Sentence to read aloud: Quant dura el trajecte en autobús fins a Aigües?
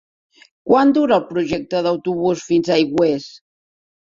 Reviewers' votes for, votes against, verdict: 1, 2, rejected